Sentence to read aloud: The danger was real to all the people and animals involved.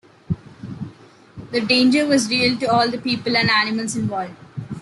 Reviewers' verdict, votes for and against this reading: accepted, 2, 0